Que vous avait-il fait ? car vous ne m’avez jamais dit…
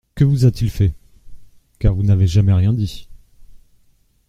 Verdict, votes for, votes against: rejected, 1, 2